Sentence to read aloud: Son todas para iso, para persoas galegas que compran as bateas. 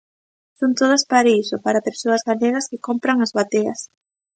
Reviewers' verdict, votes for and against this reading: rejected, 0, 2